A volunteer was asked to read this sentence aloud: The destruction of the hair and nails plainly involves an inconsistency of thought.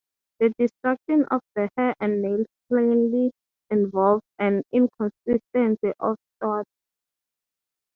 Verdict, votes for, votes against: accepted, 6, 0